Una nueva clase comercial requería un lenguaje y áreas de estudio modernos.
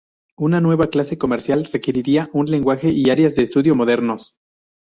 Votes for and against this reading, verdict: 0, 2, rejected